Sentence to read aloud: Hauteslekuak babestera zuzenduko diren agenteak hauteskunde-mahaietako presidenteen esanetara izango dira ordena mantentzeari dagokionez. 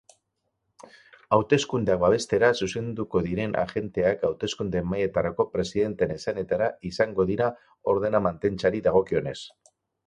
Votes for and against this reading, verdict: 2, 4, rejected